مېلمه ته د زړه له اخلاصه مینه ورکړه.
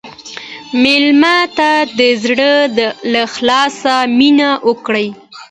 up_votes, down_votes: 2, 0